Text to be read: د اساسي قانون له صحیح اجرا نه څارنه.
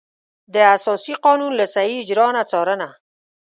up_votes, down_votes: 2, 0